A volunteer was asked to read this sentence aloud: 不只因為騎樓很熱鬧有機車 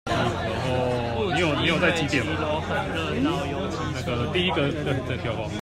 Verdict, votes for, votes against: rejected, 1, 2